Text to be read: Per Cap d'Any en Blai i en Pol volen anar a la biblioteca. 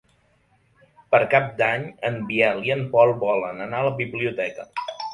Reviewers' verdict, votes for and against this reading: rejected, 1, 3